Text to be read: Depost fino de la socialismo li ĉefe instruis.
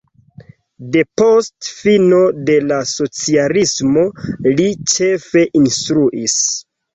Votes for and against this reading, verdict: 2, 0, accepted